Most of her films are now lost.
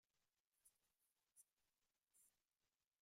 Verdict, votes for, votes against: rejected, 0, 2